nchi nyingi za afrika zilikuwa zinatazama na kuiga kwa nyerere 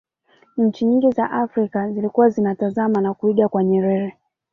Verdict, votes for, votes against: accepted, 2, 0